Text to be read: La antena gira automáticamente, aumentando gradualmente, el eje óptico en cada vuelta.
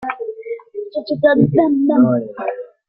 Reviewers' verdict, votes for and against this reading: rejected, 0, 2